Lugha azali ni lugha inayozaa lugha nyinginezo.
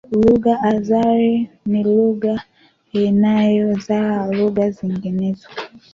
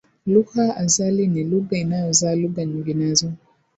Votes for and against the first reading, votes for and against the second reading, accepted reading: 1, 2, 5, 1, second